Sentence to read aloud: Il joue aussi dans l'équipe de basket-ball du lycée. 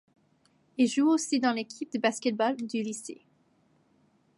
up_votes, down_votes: 2, 0